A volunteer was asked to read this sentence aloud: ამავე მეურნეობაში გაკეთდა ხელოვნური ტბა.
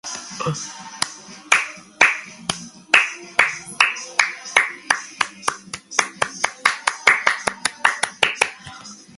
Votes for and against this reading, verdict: 0, 2, rejected